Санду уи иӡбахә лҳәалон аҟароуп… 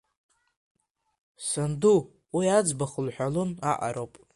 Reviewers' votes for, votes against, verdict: 3, 1, accepted